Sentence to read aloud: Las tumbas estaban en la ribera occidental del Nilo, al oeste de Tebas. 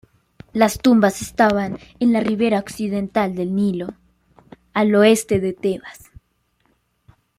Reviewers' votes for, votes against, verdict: 2, 1, accepted